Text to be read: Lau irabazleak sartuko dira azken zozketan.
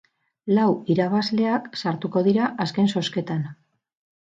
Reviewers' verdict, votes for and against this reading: rejected, 0, 2